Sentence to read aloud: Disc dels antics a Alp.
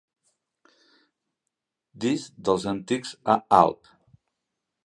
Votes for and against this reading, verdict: 2, 0, accepted